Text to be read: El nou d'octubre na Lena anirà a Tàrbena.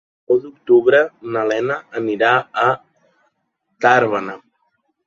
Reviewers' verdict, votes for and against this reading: rejected, 0, 2